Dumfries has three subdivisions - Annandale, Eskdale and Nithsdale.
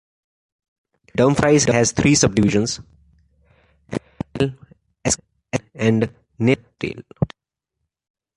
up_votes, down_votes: 1, 2